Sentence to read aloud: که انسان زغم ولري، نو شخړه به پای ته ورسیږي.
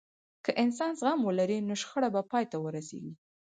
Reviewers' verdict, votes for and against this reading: accepted, 4, 0